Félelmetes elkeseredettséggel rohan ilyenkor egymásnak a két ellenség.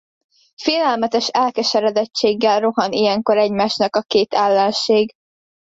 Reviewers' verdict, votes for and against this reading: accepted, 2, 0